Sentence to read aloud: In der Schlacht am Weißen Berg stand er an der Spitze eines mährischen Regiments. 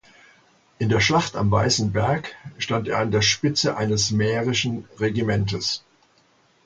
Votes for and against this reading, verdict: 1, 2, rejected